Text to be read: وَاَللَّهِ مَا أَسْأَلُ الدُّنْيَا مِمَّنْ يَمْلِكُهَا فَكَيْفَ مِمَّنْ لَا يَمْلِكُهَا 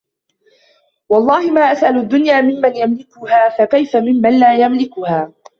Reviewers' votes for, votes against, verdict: 1, 2, rejected